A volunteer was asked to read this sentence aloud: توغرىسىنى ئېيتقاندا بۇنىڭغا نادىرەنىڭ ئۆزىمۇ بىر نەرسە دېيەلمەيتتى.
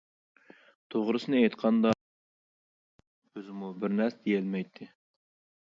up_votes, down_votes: 0, 2